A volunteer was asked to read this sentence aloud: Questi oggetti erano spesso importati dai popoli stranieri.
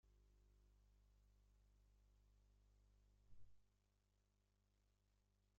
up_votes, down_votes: 1, 2